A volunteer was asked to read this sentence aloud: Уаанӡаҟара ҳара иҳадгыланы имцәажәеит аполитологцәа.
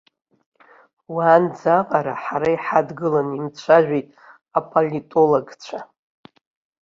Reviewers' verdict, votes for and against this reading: accepted, 2, 0